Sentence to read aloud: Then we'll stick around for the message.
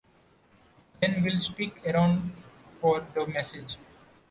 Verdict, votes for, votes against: rejected, 1, 2